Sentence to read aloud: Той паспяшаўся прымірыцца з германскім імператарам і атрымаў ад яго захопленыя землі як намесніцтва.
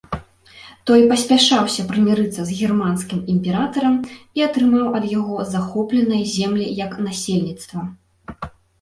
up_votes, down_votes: 0, 2